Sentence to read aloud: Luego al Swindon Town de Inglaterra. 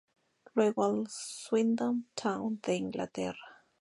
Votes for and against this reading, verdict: 0, 2, rejected